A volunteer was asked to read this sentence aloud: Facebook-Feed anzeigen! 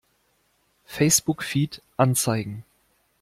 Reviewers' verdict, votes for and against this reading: accepted, 2, 0